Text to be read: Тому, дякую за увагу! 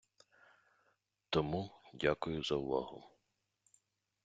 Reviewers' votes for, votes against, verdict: 2, 0, accepted